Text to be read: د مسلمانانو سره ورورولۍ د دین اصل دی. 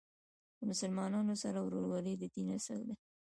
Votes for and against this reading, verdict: 2, 1, accepted